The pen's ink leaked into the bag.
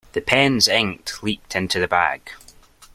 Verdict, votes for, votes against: accepted, 2, 0